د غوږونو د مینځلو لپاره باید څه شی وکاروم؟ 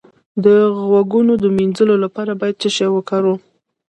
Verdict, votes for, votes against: accepted, 2, 0